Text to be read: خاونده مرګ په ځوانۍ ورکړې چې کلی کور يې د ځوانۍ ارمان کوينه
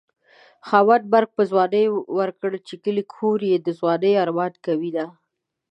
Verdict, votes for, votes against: rejected, 1, 3